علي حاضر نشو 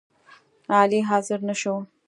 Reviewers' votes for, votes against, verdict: 2, 0, accepted